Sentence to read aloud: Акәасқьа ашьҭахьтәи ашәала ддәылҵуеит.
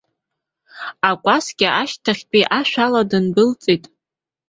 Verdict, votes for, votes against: rejected, 1, 2